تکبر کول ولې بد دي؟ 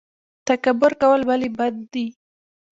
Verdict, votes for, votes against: accepted, 2, 1